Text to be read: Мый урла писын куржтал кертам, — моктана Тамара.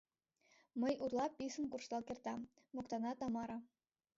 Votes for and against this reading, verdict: 1, 2, rejected